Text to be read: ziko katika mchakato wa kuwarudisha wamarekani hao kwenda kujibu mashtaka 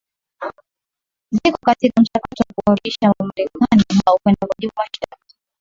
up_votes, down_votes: 0, 2